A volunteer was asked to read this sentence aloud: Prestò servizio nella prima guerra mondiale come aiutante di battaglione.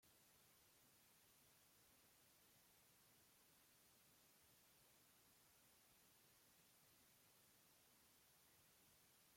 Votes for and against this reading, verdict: 0, 2, rejected